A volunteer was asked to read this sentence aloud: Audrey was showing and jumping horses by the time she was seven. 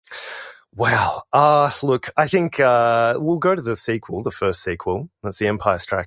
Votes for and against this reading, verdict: 0, 2, rejected